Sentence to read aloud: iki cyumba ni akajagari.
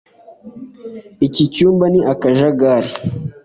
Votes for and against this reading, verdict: 2, 0, accepted